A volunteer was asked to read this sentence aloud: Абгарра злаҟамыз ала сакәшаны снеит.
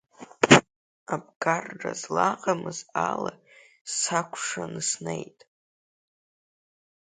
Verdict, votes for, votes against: accepted, 2, 0